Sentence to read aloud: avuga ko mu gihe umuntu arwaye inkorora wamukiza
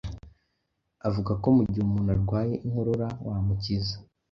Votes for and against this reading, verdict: 2, 0, accepted